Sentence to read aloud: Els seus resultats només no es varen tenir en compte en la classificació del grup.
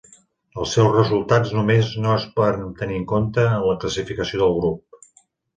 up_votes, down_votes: 1, 2